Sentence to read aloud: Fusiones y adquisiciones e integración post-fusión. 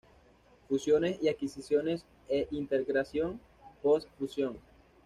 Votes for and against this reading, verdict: 1, 2, rejected